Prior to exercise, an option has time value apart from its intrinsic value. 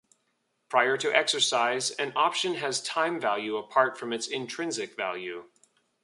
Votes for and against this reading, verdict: 2, 0, accepted